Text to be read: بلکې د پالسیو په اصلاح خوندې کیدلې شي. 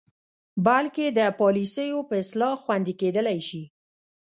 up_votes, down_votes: 1, 2